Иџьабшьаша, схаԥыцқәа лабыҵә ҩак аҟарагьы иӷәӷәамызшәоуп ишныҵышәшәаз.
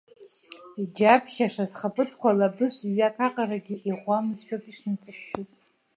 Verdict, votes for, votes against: accepted, 2, 0